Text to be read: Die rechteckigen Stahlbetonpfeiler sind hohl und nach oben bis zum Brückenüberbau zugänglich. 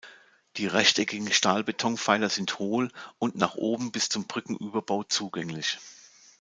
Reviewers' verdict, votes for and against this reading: accepted, 2, 0